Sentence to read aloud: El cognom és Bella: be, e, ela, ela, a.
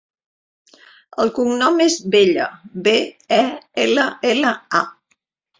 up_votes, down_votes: 4, 0